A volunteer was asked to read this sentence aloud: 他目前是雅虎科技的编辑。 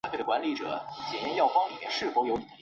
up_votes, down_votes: 0, 2